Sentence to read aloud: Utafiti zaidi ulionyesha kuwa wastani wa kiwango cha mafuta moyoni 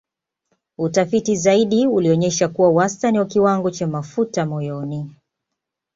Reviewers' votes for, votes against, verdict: 2, 0, accepted